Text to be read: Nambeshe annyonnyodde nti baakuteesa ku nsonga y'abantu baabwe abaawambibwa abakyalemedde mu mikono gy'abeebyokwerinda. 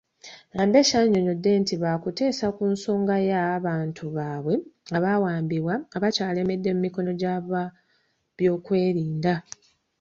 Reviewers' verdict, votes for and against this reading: rejected, 1, 2